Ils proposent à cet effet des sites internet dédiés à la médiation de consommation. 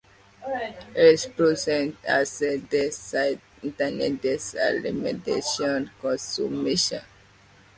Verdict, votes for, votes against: rejected, 0, 2